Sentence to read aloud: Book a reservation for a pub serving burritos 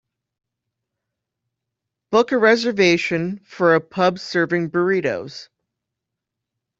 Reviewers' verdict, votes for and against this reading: accepted, 2, 0